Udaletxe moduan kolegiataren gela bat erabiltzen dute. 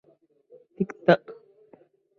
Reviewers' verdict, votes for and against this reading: rejected, 0, 2